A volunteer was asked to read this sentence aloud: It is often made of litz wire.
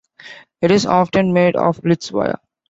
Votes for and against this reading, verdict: 2, 0, accepted